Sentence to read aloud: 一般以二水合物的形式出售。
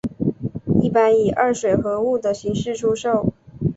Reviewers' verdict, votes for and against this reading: rejected, 1, 2